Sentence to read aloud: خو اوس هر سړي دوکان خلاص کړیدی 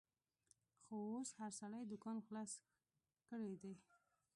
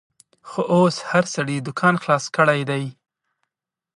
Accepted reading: second